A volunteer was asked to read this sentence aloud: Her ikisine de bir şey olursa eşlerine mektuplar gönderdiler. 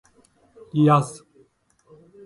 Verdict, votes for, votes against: rejected, 0, 2